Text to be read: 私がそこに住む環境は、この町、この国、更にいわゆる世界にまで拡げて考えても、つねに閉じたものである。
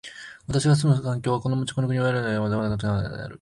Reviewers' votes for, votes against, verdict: 1, 10, rejected